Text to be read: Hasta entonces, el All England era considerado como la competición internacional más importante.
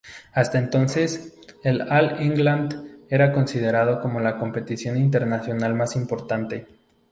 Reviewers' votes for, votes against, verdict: 4, 0, accepted